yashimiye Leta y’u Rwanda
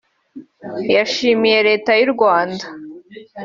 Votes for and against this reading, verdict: 2, 1, accepted